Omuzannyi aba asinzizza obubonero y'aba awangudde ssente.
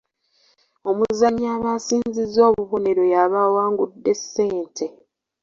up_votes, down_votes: 2, 0